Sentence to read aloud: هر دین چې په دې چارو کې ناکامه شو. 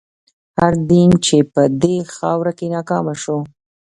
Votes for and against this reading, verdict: 1, 2, rejected